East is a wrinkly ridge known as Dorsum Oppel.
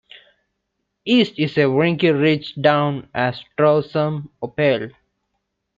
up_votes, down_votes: 1, 2